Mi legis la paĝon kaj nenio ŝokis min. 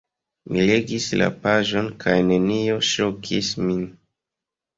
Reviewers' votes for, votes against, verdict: 2, 0, accepted